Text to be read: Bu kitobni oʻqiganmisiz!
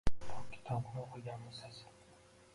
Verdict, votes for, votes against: rejected, 0, 2